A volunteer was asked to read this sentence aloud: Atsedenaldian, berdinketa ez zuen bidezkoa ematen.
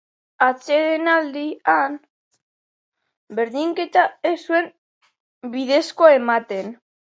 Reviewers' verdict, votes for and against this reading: accepted, 4, 0